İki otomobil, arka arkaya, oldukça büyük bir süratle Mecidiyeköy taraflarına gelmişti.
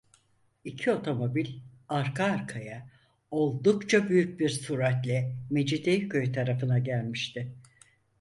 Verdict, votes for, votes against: rejected, 0, 4